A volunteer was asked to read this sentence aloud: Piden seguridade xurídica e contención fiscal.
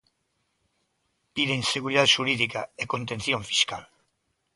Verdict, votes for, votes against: accepted, 2, 0